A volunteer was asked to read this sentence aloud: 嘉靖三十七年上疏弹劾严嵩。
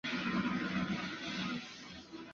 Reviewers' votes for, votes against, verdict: 0, 4, rejected